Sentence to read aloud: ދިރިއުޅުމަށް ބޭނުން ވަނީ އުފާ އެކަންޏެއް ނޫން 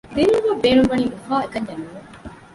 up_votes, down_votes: 0, 2